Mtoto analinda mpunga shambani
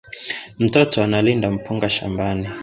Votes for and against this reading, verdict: 0, 2, rejected